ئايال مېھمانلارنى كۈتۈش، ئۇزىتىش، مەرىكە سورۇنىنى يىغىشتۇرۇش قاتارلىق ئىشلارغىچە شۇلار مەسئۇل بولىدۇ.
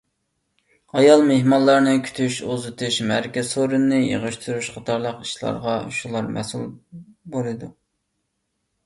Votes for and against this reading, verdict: 1, 2, rejected